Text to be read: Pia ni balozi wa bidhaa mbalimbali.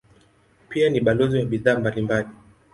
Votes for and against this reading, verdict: 2, 0, accepted